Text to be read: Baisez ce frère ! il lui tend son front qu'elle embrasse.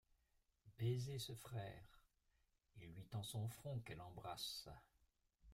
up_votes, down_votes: 0, 2